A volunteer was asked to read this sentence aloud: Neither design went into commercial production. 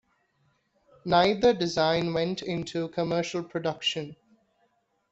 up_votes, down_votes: 1, 2